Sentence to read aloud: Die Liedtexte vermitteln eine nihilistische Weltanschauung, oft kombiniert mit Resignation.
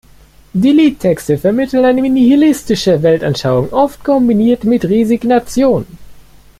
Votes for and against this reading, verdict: 2, 0, accepted